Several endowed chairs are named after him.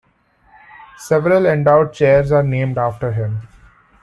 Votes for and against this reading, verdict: 2, 0, accepted